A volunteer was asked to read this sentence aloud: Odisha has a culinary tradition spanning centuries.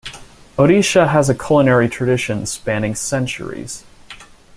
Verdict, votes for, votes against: accepted, 2, 0